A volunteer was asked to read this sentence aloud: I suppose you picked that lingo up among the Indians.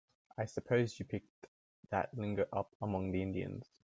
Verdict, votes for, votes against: accepted, 2, 0